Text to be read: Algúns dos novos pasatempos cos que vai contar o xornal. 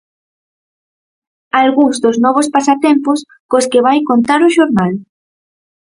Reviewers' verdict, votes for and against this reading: accepted, 6, 0